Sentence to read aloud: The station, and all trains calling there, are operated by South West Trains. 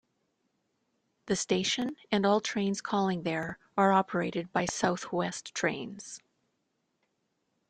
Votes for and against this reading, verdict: 2, 0, accepted